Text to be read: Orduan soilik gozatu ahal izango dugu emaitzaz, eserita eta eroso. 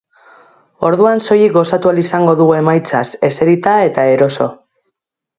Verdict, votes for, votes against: accepted, 2, 0